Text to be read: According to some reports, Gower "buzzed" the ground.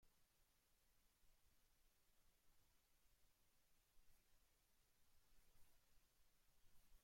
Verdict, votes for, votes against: rejected, 0, 2